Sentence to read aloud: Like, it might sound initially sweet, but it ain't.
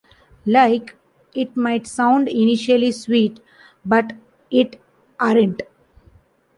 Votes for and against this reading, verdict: 0, 2, rejected